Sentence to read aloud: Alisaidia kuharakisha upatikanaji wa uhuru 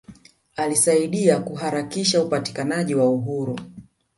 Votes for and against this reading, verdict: 0, 2, rejected